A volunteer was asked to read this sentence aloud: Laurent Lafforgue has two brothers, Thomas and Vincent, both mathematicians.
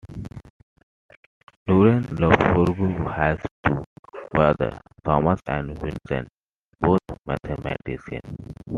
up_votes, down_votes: 1, 2